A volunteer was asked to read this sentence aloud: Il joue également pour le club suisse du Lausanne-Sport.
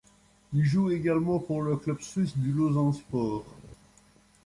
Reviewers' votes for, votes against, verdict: 1, 2, rejected